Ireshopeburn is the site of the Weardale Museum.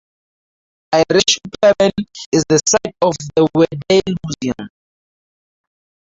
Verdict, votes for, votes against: rejected, 2, 2